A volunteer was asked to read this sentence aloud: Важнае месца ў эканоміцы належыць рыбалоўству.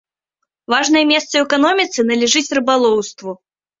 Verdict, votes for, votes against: rejected, 0, 2